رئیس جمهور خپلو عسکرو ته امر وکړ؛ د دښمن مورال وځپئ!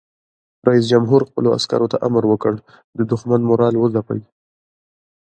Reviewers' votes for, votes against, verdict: 1, 2, rejected